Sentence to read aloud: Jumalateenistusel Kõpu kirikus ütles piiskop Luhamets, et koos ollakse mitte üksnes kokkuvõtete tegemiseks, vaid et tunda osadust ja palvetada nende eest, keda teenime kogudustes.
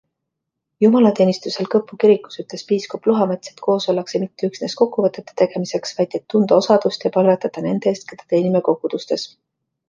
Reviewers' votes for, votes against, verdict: 2, 0, accepted